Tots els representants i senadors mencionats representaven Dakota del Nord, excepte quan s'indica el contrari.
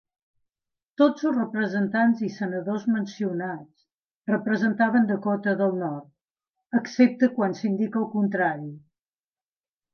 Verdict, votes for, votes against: accepted, 2, 0